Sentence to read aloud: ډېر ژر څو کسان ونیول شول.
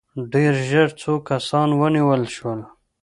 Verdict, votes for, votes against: accepted, 2, 0